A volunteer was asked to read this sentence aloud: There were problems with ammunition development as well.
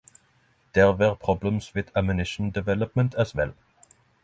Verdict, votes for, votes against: accepted, 6, 0